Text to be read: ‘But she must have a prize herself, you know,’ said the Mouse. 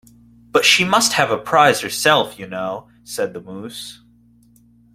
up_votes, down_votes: 2, 1